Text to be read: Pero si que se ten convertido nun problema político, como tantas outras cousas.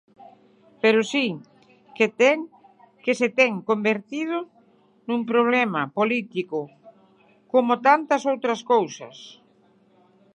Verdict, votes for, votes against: rejected, 0, 6